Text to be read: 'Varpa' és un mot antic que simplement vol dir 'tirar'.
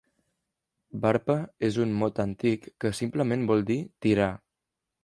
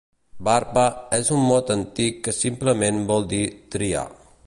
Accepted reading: first